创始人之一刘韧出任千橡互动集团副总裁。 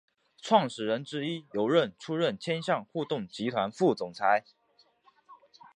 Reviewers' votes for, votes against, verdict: 2, 0, accepted